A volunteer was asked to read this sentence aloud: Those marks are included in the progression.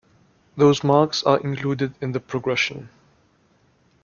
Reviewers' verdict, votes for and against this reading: accepted, 2, 0